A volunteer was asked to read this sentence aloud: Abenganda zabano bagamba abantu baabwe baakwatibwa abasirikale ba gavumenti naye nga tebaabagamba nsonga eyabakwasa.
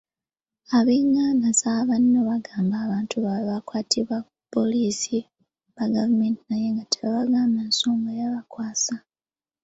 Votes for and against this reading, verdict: 1, 2, rejected